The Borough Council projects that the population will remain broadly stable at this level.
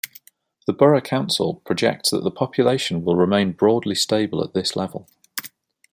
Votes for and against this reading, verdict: 2, 0, accepted